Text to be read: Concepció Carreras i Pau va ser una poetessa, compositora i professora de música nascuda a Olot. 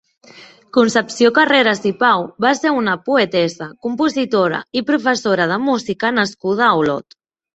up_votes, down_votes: 3, 0